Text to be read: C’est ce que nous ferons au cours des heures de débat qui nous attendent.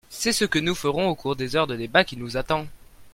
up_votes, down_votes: 2, 0